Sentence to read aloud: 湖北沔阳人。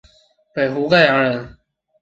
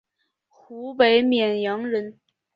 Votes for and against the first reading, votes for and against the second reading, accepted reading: 1, 3, 3, 2, second